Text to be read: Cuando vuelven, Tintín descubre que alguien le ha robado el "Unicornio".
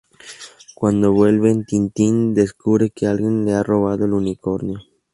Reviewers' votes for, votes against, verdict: 0, 2, rejected